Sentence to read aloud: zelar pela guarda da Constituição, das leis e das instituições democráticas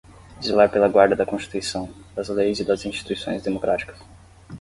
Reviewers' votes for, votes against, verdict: 10, 0, accepted